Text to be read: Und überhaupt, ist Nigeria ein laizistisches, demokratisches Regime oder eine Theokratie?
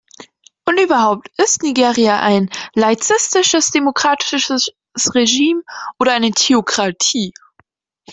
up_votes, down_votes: 0, 2